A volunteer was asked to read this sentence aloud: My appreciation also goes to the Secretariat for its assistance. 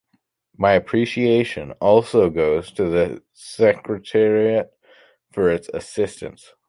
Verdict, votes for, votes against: accepted, 2, 1